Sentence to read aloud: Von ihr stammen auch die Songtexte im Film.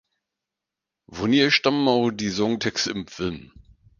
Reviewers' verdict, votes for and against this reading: rejected, 0, 4